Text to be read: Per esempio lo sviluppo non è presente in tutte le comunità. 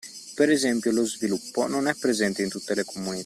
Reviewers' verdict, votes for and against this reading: rejected, 1, 2